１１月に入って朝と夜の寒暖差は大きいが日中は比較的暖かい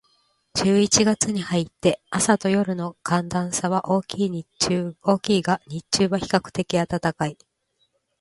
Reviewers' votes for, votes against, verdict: 0, 2, rejected